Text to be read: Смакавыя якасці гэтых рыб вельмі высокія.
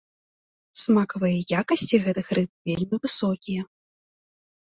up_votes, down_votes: 2, 0